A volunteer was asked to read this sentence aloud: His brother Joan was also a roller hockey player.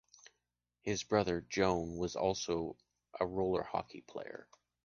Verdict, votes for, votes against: accepted, 2, 0